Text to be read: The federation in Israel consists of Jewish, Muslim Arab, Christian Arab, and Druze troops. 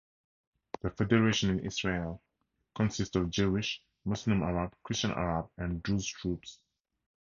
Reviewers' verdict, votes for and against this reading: rejected, 0, 2